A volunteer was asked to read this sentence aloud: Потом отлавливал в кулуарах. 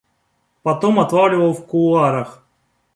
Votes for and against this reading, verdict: 2, 0, accepted